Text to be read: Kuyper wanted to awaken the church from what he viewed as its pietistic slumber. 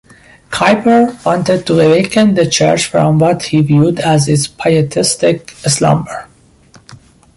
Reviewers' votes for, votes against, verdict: 2, 1, accepted